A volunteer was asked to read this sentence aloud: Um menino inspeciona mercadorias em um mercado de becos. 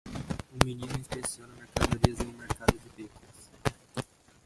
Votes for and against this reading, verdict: 0, 2, rejected